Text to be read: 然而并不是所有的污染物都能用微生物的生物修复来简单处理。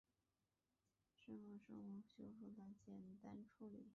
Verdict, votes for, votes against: rejected, 1, 2